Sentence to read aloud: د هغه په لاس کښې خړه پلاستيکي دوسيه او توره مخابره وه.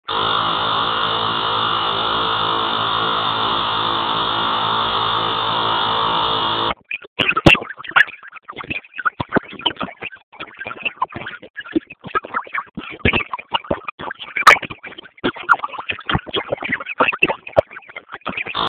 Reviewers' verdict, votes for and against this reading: rejected, 0, 2